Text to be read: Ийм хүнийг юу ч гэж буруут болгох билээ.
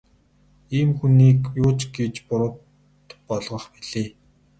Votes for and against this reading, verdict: 2, 0, accepted